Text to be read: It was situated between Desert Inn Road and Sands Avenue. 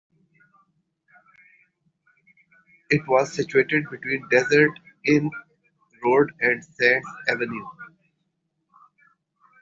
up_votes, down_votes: 2, 1